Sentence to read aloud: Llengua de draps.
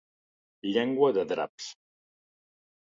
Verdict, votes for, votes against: accepted, 3, 0